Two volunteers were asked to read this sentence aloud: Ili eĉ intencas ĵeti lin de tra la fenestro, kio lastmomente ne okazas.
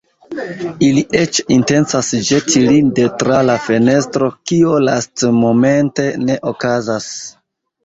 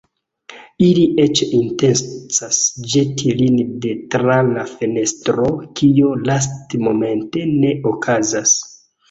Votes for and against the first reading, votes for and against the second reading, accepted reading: 2, 0, 0, 2, first